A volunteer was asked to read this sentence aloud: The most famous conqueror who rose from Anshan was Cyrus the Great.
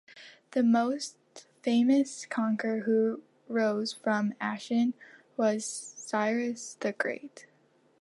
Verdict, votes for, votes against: rejected, 1, 2